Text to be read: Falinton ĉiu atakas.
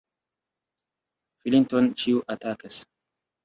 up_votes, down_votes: 2, 0